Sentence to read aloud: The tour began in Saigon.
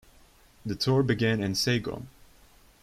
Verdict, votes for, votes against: rejected, 1, 2